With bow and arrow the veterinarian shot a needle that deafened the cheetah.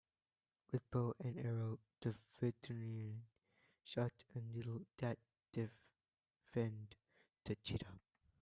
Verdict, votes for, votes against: rejected, 0, 2